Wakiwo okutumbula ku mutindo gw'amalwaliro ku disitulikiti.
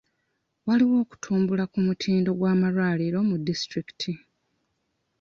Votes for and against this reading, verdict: 1, 2, rejected